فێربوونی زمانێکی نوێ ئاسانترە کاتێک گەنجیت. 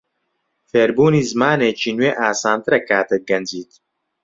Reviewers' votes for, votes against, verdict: 2, 0, accepted